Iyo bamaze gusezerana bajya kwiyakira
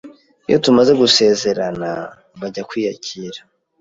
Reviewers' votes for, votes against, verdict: 1, 2, rejected